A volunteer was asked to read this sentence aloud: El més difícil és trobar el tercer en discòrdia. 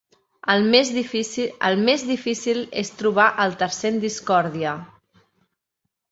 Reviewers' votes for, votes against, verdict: 1, 2, rejected